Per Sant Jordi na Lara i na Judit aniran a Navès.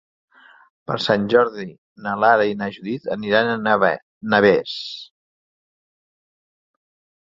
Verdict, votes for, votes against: rejected, 1, 2